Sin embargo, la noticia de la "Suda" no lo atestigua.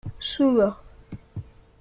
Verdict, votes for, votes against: rejected, 0, 2